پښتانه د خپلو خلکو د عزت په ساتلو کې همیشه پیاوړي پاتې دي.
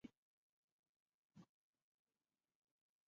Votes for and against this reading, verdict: 0, 2, rejected